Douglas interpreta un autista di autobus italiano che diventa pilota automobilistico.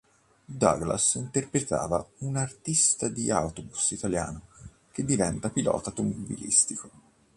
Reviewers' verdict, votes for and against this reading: rejected, 1, 2